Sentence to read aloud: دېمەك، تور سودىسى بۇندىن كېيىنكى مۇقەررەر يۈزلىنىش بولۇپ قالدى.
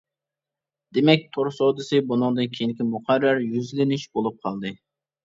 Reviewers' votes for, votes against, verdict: 0, 2, rejected